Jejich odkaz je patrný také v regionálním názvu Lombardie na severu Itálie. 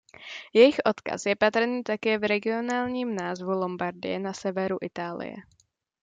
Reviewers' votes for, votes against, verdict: 2, 0, accepted